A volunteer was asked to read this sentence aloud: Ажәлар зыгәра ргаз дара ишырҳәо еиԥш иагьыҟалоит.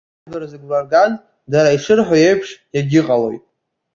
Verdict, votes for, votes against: rejected, 1, 2